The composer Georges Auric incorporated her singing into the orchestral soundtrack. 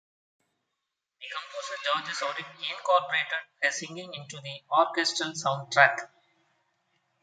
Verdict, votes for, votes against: rejected, 0, 2